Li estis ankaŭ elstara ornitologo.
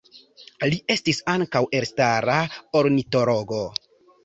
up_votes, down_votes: 0, 2